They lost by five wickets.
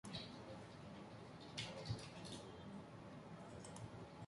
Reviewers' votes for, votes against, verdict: 0, 2, rejected